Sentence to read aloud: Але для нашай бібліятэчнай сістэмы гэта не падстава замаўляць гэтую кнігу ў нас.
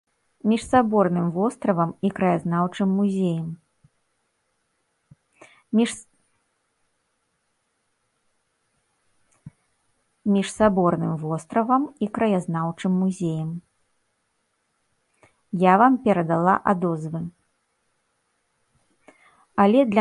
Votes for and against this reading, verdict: 1, 2, rejected